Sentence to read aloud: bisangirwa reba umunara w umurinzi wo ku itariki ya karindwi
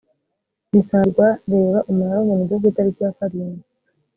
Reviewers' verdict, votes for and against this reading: rejected, 0, 2